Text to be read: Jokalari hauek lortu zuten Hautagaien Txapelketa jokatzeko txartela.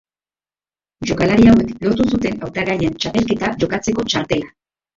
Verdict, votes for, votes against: rejected, 0, 3